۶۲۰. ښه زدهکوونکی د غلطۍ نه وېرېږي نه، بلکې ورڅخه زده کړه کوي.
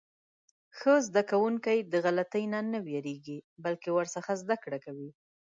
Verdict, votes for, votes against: rejected, 0, 2